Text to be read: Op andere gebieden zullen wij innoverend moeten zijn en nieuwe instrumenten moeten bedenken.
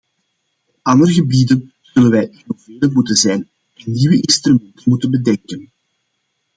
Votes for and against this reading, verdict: 0, 2, rejected